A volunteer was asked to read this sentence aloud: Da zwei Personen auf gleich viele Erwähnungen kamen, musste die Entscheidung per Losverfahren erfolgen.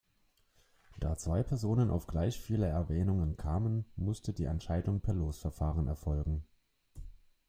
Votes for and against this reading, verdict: 1, 2, rejected